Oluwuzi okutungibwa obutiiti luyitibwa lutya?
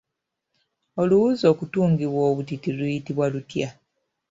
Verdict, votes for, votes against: accepted, 2, 1